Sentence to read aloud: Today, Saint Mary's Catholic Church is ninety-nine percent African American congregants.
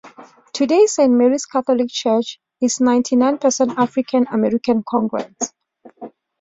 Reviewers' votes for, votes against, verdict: 2, 1, accepted